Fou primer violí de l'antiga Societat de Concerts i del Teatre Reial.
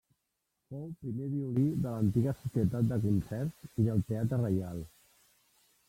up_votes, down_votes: 1, 2